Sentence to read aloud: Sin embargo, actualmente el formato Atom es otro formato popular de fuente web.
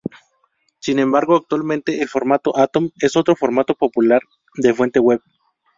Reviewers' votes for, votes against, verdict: 2, 0, accepted